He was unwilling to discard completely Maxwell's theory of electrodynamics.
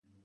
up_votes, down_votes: 0, 3